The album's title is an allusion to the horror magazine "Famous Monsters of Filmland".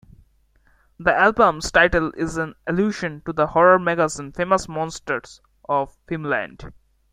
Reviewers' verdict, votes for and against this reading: rejected, 0, 2